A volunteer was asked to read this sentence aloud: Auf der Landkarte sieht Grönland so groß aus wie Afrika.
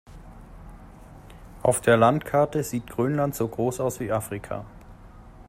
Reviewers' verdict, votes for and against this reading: accepted, 2, 0